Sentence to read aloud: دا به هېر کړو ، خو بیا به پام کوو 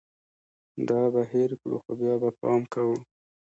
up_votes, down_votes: 2, 1